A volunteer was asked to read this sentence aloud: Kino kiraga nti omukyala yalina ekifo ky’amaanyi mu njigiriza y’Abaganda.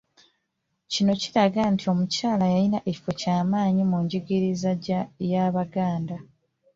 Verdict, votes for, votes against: rejected, 1, 2